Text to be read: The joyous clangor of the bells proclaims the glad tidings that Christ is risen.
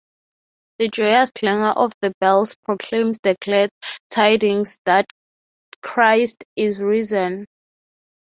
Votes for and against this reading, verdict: 3, 0, accepted